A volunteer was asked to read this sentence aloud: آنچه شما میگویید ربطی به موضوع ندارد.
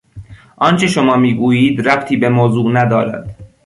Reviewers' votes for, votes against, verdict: 2, 0, accepted